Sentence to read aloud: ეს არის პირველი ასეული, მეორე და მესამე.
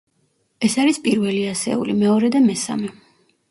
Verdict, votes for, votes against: accepted, 2, 0